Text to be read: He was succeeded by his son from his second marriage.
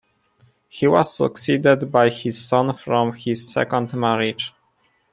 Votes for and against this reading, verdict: 2, 0, accepted